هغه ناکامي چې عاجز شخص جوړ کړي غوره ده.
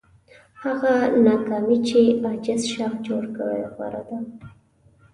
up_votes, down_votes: 0, 2